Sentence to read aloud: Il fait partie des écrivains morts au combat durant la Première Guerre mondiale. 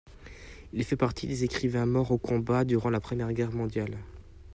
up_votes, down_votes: 2, 0